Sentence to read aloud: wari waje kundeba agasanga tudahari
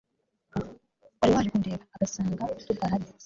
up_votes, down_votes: 0, 2